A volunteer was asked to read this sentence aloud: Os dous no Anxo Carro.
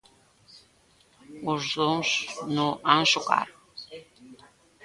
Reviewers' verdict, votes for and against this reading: rejected, 1, 2